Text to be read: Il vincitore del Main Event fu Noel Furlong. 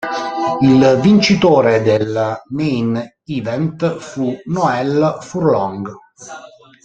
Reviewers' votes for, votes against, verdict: 0, 2, rejected